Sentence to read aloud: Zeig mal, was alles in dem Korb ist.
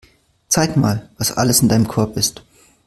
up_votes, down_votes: 0, 2